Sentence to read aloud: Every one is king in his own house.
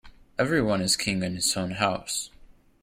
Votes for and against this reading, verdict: 2, 1, accepted